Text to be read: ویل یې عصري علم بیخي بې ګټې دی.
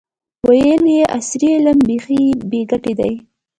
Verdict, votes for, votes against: accepted, 2, 0